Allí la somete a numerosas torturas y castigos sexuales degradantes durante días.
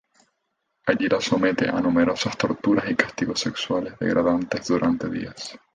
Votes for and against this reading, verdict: 0, 2, rejected